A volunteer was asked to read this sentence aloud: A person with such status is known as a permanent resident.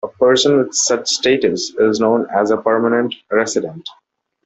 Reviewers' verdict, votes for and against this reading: accepted, 2, 0